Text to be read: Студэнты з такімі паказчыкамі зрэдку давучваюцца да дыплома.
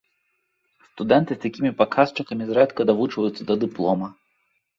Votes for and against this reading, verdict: 2, 0, accepted